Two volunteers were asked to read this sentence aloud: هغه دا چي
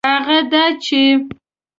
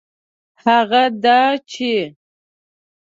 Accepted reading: first